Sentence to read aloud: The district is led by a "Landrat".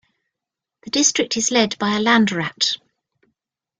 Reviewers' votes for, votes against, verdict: 2, 0, accepted